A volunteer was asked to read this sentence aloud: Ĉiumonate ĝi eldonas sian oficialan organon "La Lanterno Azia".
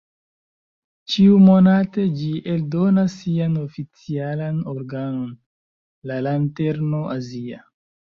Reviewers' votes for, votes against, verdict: 1, 2, rejected